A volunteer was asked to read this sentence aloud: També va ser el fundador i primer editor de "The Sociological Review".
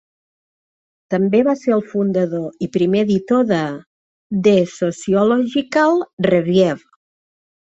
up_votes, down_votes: 2, 0